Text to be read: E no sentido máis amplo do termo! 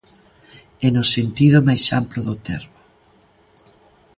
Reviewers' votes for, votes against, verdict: 2, 0, accepted